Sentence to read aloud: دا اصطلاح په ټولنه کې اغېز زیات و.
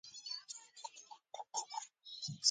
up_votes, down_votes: 2, 1